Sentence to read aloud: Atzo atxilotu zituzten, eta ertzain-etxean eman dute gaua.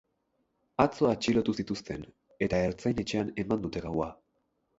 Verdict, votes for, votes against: accepted, 6, 0